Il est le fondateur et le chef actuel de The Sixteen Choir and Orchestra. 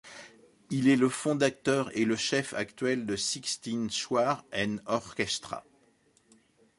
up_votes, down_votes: 0, 2